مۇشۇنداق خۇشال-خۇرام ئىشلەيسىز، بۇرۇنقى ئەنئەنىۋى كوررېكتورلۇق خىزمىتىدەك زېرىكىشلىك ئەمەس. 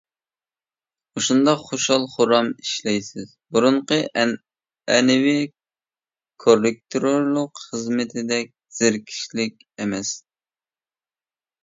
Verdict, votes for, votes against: rejected, 1, 2